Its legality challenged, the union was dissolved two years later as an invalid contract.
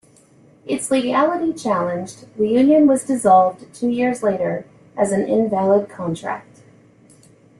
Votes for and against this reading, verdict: 2, 0, accepted